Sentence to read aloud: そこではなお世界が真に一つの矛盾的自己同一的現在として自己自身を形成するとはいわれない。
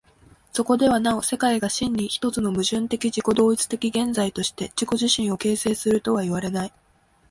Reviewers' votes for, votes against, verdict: 2, 0, accepted